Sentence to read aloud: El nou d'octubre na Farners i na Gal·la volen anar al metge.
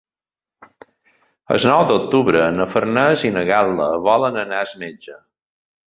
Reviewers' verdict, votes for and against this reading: rejected, 1, 2